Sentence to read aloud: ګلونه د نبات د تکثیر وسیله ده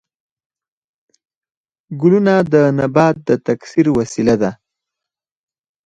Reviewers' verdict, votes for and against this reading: accepted, 4, 2